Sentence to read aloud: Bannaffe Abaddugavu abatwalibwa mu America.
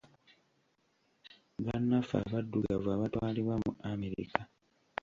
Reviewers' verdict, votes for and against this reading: accepted, 2, 0